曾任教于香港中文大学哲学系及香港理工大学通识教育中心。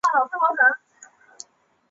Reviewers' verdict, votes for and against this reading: rejected, 0, 5